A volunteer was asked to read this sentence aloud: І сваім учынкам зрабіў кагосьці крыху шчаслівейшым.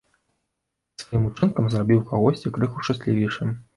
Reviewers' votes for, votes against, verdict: 1, 2, rejected